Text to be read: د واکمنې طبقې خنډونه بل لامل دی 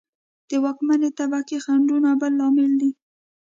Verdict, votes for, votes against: accepted, 2, 0